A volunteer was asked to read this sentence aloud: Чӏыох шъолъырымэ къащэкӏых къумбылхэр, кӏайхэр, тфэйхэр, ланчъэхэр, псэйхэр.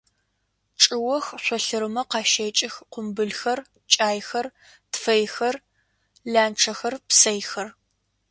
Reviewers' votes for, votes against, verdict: 2, 0, accepted